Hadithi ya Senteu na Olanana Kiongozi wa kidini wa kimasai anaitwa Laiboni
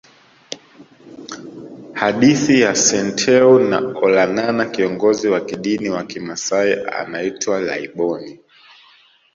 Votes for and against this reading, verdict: 2, 0, accepted